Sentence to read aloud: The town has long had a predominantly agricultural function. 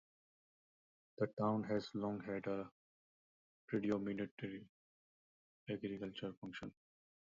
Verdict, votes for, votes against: rejected, 0, 2